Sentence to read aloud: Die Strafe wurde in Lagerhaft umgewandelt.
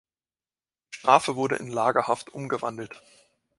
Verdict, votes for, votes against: rejected, 0, 2